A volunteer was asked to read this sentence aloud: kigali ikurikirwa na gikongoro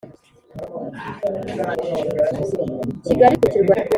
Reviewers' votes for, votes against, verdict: 2, 3, rejected